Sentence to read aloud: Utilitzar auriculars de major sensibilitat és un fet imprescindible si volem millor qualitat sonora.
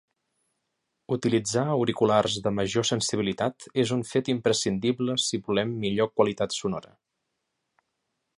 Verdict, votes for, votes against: accepted, 3, 0